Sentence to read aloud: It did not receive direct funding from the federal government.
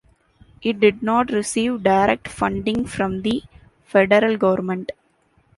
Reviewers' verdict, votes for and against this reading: accepted, 2, 1